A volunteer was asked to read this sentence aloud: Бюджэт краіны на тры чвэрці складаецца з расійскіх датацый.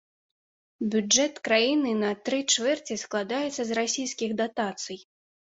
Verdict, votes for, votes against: accepted, 2, 0